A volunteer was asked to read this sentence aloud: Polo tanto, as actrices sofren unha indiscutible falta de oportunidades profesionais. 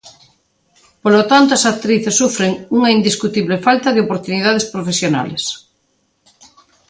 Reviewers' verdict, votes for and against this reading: rejected, 0, 2